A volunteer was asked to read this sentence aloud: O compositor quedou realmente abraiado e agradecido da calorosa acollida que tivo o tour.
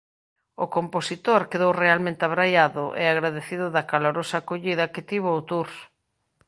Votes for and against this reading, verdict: 2, 1, accepted